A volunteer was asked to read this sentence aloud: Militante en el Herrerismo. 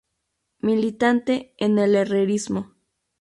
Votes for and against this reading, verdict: 2, 2, rejected